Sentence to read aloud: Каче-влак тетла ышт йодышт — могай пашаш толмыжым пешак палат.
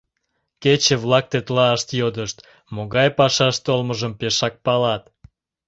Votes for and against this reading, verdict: 1, 2, rejected